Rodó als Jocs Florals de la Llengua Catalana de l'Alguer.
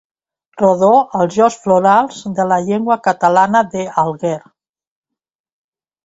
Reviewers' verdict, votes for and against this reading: rejected, 0, 2